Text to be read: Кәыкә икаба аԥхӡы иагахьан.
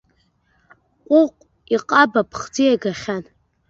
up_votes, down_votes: 0, 2